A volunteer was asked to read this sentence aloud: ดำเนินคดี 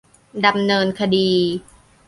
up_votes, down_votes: 2, 0